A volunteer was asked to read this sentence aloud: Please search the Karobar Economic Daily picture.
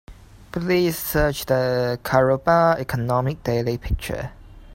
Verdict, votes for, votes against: accepted, 2, 1